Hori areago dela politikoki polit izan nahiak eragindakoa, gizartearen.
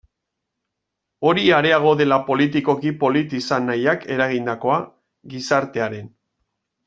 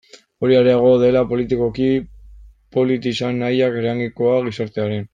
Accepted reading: first